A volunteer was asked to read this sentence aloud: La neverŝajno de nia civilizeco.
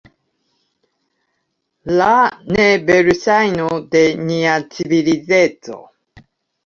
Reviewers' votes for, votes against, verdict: 2, 0, accepted